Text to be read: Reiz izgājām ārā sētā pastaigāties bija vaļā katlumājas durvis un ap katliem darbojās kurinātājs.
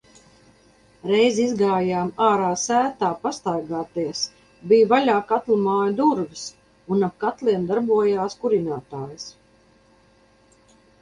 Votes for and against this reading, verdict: 0, 2, rejected